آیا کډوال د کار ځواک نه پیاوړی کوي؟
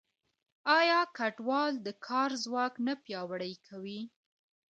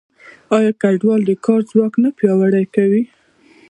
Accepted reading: first